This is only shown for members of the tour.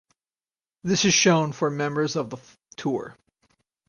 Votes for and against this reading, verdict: 2, 4, rejected